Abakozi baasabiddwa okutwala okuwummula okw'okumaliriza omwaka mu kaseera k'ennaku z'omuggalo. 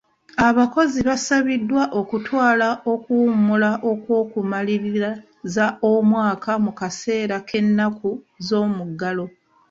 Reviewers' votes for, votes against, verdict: 1, 2, rejected